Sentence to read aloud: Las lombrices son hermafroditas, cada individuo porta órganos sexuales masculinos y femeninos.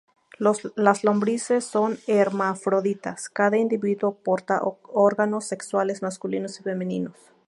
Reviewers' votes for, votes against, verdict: 2, 2, rejected